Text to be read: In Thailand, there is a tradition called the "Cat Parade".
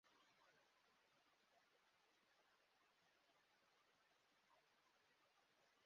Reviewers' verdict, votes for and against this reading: rejected, 0, 2